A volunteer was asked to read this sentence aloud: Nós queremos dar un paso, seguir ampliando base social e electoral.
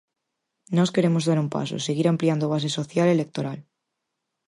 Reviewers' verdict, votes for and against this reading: accepted, 4, 0